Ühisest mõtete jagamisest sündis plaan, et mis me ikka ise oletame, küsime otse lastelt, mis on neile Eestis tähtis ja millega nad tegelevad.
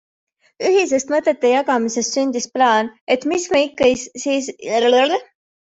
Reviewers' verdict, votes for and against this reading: rejected, 0, 2